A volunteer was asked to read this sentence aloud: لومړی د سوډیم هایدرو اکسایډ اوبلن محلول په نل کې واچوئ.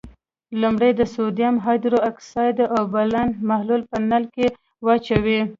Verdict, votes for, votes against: rejected, 0, 2